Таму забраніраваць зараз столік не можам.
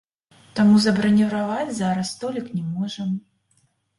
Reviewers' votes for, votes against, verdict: 0, 2, rejected